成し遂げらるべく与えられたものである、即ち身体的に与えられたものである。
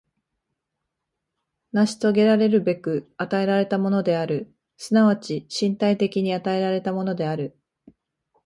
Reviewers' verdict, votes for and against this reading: accepted, 3, 0